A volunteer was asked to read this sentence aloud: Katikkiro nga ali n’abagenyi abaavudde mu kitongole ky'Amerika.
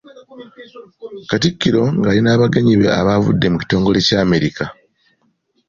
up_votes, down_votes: 2, 0